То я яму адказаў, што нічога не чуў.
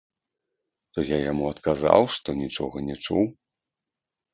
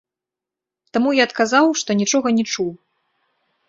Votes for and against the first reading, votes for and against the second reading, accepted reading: 2, 0, 0, 2, first